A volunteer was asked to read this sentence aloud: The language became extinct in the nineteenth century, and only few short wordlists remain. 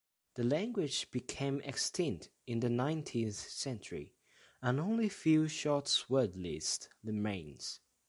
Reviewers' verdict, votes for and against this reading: rejected, 0, 2